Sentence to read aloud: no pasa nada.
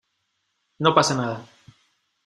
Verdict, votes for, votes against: accepted, 2, 0